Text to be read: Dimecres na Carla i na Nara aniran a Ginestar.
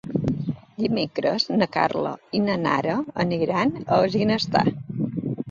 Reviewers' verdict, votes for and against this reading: accepted, 2, 1